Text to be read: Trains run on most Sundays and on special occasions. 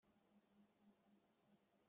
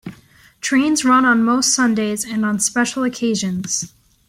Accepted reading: second